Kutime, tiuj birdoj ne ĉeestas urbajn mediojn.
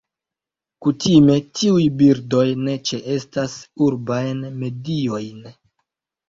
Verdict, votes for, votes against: rejected, 1, 2